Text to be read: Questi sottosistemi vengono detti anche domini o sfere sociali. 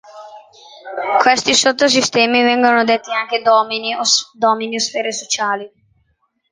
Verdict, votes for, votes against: rejected, 0, 2